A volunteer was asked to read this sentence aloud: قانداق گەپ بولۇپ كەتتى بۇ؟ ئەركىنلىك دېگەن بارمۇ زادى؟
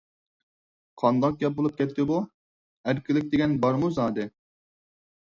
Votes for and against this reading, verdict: 4, 0, accepted